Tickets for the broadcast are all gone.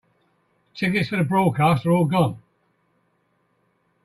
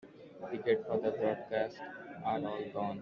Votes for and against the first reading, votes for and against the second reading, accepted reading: 2, 0, 0, 2, first